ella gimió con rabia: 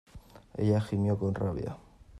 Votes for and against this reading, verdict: 2, 0, accepted